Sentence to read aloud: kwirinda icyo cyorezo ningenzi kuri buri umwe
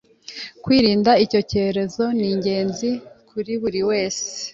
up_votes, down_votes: 1, 2